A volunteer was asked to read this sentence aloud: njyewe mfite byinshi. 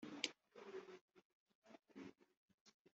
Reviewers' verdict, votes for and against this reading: rejected, 0, 2